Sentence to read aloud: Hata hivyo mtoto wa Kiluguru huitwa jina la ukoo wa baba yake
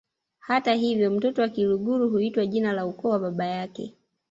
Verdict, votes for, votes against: rejected, 0, 2